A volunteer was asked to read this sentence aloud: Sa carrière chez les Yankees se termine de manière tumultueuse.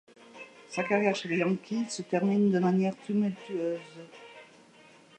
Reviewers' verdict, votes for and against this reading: accepted, 2, 0